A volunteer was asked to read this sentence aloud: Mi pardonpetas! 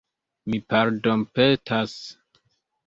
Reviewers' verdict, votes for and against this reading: accepted, 2, 0